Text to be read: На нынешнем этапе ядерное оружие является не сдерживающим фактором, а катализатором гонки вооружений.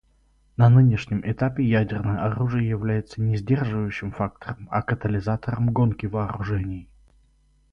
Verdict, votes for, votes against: rejected, 2, 2